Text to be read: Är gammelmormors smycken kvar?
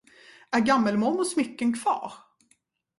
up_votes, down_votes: 2, 0